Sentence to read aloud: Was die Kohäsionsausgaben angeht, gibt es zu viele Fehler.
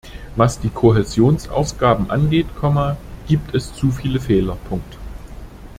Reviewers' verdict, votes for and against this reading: rejected, 1, 2